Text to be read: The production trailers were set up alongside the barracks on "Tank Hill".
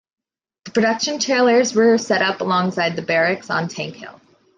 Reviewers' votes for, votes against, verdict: 2, 0, accepted